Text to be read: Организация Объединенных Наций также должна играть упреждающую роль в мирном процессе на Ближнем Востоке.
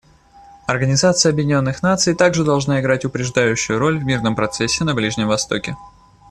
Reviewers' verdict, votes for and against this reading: accepted, 2, 0